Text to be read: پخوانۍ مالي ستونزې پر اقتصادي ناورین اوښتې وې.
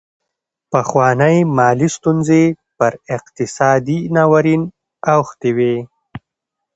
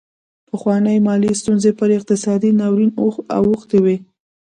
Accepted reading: first